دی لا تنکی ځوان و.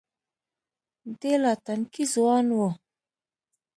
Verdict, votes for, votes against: rejected, 1, 2